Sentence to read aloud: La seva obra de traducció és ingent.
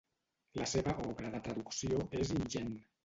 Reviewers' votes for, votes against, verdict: 0, 2, rejected